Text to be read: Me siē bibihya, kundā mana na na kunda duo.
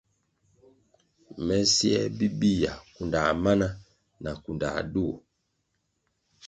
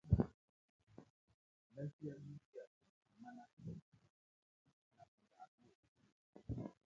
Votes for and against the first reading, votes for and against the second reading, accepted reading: 2, 0, 0, 3, first